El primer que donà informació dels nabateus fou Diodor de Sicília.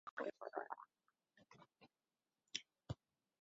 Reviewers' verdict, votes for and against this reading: rejected, 0, 2